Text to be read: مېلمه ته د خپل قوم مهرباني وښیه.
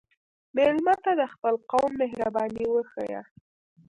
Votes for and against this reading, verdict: 2, 0, accepted